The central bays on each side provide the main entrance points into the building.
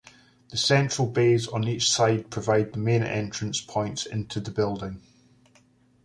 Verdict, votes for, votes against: accepted, 2, 0